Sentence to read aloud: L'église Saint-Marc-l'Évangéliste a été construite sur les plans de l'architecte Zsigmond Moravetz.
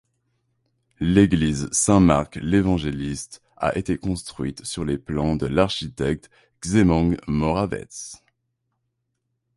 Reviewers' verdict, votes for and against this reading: accepted, 2, 0